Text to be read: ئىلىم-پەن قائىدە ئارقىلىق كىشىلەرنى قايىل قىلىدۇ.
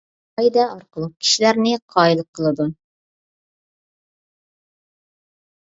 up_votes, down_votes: 0, 2